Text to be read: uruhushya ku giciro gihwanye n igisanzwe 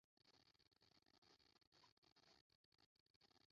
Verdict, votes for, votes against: rejected, 0, 2